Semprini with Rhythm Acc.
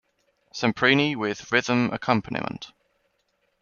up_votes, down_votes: 2, 1